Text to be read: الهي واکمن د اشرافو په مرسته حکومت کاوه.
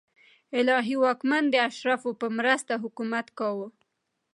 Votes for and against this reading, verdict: 2, 0, accepted